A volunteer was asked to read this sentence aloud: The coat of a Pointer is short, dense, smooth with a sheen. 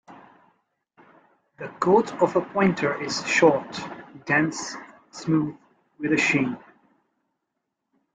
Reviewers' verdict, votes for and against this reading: accepted, 3, 1